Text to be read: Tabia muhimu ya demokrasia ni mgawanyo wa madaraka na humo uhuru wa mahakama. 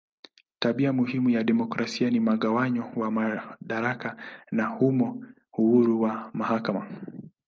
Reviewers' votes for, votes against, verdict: 4, 1, accepted